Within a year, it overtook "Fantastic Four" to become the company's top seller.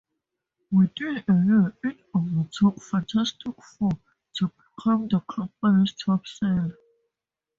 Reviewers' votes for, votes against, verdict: 0, 2, rejected